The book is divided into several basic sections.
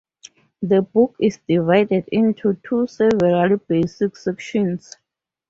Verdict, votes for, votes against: rejected, 2, 4